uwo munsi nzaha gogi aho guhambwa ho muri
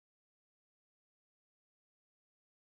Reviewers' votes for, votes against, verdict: 0, 2, rejected